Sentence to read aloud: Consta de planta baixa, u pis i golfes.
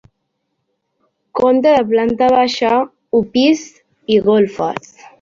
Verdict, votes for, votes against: rejected, 1, 3